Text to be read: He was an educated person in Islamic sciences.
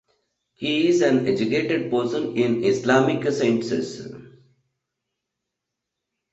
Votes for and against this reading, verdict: 0, 2, rejected